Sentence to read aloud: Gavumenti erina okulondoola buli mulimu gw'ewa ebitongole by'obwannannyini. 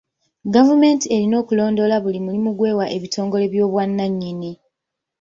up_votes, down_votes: 2, 1